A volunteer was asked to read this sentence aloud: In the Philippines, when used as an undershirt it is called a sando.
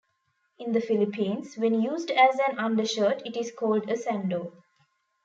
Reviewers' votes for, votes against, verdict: 2, 0, accepted